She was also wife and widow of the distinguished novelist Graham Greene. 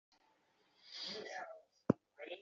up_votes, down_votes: 0, 2